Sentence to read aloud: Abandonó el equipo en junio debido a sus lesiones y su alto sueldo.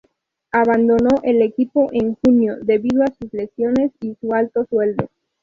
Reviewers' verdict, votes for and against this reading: accepted, 2, 0